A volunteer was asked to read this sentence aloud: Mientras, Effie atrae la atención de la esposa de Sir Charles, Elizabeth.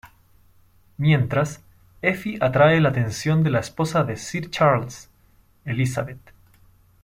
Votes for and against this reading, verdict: 2, 0, accepted